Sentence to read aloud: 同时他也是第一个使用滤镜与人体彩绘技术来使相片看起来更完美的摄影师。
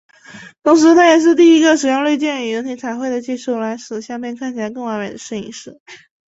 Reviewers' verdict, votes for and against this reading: rejected, 0, 3